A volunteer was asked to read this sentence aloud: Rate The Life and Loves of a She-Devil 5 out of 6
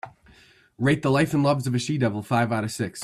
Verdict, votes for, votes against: rejected, 0, 2